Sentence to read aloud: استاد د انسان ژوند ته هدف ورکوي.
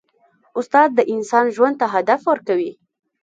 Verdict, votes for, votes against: rejected, 1, 2